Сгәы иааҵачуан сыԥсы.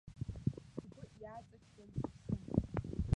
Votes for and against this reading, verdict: 0, 2, rejected